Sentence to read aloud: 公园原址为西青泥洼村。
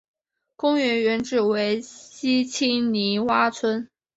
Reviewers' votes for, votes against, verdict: 2, 0, accepted